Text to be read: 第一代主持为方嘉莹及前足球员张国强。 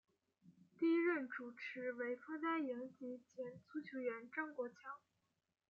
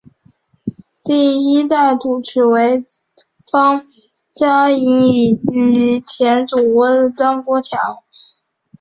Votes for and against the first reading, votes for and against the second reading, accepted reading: 2, 1, 0, 2, first